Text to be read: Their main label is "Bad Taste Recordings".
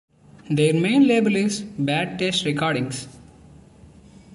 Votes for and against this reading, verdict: 2, 0, accepted